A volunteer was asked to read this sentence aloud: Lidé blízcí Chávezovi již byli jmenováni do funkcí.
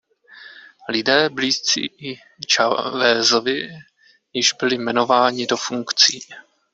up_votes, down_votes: 1, 2